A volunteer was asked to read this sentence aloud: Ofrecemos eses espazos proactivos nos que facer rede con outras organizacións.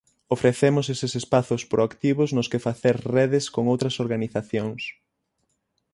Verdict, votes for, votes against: rejected, 0, 6